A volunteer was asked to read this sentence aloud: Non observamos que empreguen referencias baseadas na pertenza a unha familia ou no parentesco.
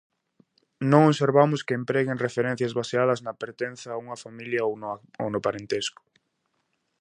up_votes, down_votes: 0, 2